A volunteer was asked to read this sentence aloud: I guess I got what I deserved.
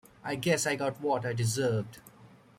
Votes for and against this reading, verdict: 2, 0, accepted